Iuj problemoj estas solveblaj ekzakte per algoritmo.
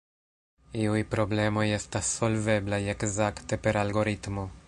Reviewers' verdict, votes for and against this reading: accepted, 2, 0